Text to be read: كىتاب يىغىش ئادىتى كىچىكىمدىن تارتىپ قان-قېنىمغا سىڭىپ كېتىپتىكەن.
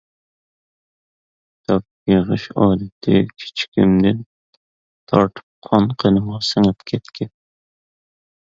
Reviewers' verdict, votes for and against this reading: rejected, 0, 2